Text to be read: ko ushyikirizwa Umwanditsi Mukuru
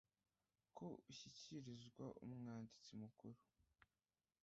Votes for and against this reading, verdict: 0, 2, rejected